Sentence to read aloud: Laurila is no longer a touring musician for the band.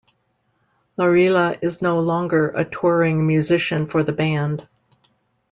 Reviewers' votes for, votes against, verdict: 2, 0, accepted